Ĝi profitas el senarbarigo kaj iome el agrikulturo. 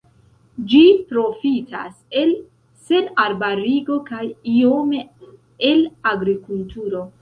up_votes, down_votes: 2, 0